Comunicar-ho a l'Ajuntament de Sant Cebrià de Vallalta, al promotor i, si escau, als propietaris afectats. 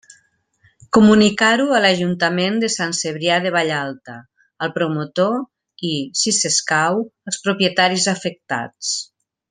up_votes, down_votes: 3, 0